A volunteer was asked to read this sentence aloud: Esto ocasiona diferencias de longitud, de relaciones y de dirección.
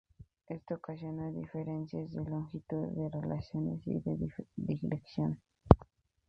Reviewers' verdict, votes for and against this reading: rejected, 2, 2